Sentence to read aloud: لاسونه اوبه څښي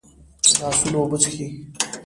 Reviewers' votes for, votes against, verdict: 1, 2, rejected